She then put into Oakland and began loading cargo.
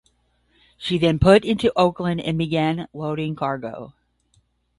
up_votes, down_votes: 0, 5